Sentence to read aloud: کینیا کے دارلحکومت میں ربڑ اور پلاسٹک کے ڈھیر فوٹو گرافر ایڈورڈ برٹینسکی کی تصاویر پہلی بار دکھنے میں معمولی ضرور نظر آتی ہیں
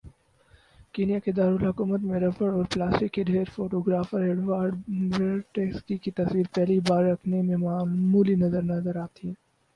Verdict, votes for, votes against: rejected, 0, 4